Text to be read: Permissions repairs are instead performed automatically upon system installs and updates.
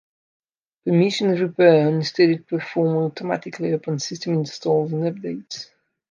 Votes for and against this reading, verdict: 0, 2, rejected